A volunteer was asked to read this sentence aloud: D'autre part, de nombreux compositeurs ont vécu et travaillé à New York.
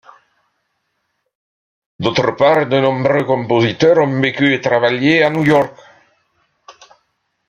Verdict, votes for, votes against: accepted, 2, 0